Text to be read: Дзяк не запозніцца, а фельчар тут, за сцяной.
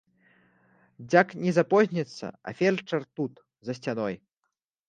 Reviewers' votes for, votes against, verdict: 2, 0, accepted